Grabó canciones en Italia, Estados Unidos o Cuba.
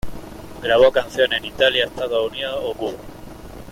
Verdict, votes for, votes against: accepted, 2, 1